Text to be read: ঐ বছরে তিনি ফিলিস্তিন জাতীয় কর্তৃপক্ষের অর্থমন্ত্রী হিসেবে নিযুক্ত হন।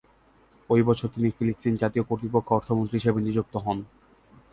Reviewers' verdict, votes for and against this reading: rejected, 0, 2